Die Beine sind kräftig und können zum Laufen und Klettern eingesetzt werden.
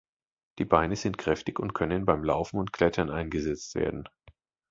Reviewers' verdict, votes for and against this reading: rejected, 1, 2